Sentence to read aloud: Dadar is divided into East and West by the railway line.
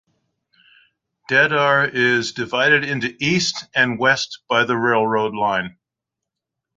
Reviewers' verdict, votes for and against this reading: rejected, 0, 2